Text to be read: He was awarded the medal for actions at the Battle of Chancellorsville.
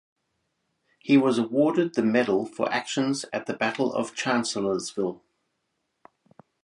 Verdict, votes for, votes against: rejected, 2, 2